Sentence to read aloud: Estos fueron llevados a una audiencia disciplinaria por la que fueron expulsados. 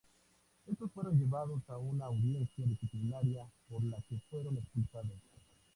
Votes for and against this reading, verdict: 2, 0, accepted